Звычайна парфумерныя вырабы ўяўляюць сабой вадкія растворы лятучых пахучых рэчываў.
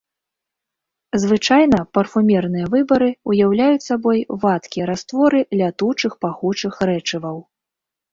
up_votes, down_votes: 0, 4